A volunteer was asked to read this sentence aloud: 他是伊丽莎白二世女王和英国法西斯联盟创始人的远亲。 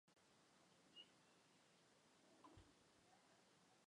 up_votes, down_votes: 0, 3